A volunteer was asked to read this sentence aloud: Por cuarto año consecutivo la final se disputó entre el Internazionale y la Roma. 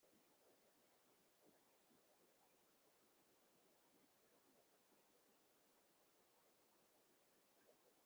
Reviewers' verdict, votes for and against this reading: rejected, 0, 3